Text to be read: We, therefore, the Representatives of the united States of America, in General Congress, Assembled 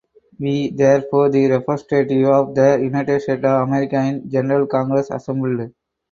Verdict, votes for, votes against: rejected, 2, 2